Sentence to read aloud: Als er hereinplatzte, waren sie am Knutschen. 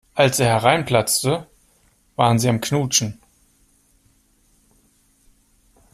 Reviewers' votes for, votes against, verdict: 2, 0, accepted